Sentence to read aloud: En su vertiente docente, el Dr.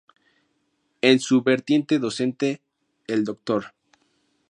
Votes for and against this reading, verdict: 2, 0, accepted